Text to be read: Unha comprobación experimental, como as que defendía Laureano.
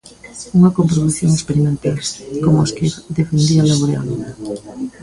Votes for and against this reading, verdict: 1, 2, rejected